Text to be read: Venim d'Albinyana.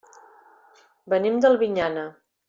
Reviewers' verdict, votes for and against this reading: accepted, 2, 0